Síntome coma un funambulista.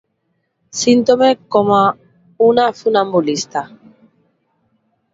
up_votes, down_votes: 0, 2